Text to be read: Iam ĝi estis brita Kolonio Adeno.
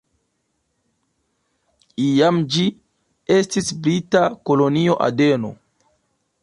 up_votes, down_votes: 0, 2